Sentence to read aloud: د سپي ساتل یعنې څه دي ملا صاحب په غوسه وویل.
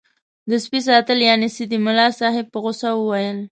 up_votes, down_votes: 1, 2